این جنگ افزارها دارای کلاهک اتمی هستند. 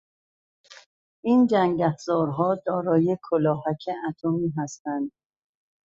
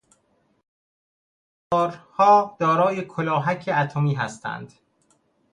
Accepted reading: first